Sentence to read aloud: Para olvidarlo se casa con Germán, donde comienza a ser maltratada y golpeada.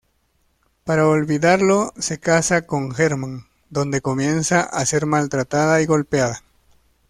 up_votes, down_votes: 0, 2